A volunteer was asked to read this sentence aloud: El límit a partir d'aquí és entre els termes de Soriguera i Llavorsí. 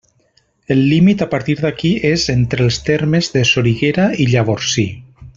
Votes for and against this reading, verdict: 3, 0, accepted